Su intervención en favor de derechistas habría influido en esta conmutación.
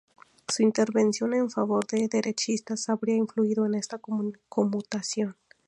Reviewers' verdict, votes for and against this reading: rejected, 0, 2